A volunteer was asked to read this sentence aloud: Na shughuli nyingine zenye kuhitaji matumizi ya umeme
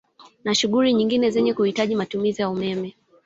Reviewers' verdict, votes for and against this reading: accepted, 6, 0